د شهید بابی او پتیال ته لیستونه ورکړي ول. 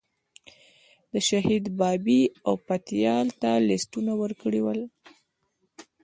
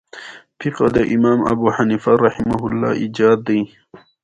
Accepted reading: first